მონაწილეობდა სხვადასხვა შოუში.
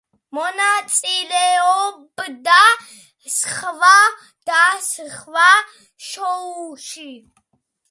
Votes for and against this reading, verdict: 0, 2, rejected